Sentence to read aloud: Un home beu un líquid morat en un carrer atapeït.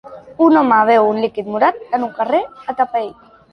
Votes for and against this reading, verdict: 2, 0, accepted